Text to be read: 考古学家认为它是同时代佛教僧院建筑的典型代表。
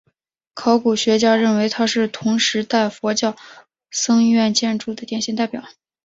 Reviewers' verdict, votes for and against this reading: accepted, 2, 0